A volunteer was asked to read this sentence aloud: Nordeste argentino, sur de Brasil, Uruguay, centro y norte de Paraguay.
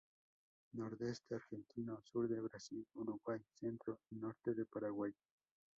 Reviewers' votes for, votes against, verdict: 2, 8, rejected